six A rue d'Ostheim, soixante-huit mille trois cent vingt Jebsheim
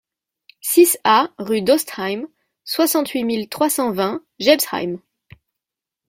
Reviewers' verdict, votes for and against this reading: accepted, 2, 0